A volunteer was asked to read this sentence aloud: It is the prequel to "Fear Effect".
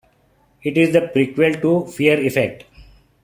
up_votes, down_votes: 2, 1